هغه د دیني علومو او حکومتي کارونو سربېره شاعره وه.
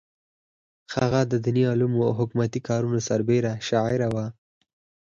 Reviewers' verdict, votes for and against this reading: accepted, 4, 0